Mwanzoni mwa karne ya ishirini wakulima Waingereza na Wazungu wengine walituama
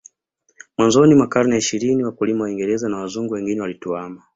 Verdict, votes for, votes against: rejected, 1, 2